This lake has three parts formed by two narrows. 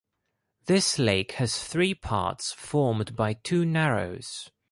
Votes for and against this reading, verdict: 2, 0, accepted